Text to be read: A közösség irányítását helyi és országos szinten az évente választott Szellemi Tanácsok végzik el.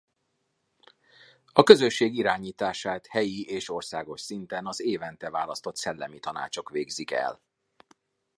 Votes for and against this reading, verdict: 2, 0, accepted